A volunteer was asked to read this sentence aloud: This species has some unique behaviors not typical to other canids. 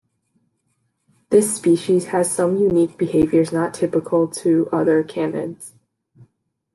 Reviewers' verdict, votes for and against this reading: accepted, 2, 0